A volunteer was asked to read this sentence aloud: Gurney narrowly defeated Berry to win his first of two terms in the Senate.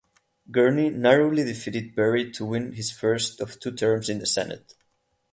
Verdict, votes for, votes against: accepted, 8, 0